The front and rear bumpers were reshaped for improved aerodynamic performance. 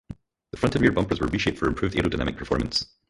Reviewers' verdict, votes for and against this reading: rejected, 2, 2